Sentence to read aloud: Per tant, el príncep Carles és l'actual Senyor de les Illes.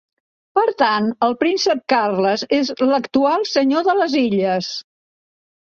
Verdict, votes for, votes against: accepted, 2, 0